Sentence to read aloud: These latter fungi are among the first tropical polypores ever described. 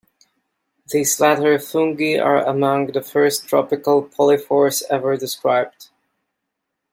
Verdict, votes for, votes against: rejected, 1, 2